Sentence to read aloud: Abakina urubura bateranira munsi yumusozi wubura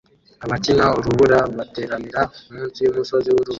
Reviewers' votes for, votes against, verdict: 0, 2, rejected